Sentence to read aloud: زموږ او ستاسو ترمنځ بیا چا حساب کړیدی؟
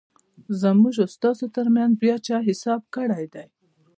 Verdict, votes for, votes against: accepted, 2, 1